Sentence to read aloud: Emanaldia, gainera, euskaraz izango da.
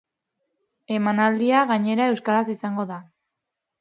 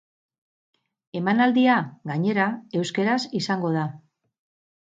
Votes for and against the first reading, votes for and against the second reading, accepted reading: 2, 0, 2, 2, first